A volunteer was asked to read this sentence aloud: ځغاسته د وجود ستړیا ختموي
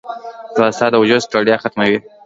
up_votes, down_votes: 2, 0